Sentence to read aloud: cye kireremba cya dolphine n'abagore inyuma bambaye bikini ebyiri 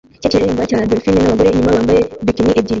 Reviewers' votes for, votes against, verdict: 0, 2, rejected